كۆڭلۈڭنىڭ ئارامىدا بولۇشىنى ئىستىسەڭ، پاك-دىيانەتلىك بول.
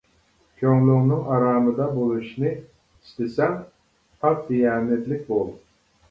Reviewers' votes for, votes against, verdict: 0, 2, rejected